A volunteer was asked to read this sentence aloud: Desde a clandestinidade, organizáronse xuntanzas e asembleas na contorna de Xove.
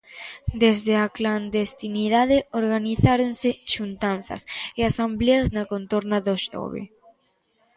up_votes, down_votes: 0, 2